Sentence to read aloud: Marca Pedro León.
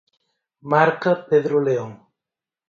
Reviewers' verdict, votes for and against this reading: accepted, 4, 0